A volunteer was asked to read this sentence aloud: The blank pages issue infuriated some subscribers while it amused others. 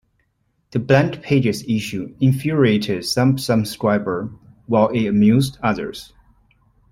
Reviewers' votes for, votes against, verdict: 2, 1, accepted